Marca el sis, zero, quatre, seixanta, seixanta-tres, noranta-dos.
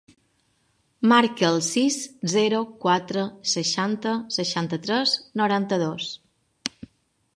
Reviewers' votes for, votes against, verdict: 3, 0, accepted